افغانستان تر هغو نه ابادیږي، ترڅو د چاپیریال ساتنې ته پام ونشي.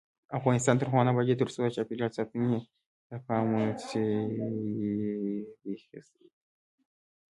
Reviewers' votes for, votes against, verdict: 2, 0, accepted